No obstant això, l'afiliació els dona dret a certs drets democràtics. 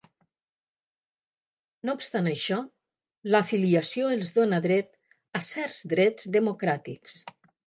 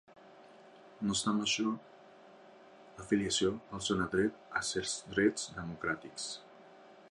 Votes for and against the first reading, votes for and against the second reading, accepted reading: 2, 0, 0, 2, first